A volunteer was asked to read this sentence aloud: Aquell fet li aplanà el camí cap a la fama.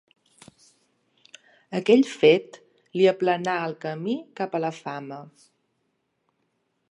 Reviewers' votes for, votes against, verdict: 3, 0, accepted